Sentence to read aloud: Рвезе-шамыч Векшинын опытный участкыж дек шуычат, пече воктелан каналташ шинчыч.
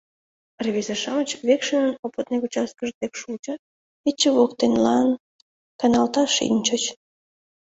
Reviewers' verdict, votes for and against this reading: accepted, 2, 1